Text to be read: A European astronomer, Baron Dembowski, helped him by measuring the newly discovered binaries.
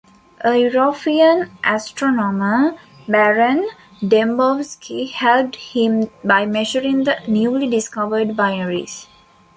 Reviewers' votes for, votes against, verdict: 3, 2, accepted